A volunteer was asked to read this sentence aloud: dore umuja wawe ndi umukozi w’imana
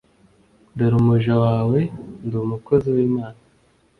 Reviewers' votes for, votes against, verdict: 2, 0, accepted